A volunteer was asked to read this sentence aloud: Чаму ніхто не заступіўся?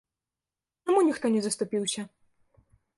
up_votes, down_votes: 0, 2